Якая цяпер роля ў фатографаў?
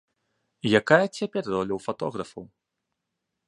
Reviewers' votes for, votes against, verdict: 2, 0, accepted